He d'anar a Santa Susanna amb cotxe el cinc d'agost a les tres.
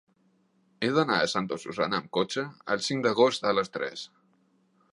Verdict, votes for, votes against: accepted, 2, 0